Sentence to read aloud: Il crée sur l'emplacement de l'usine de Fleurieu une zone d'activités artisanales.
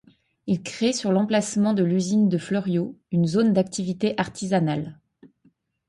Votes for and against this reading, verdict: 0, 2, rejected